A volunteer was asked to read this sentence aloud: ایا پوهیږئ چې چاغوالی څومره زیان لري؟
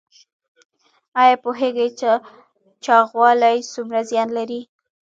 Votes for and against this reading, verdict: 2, 0, accepted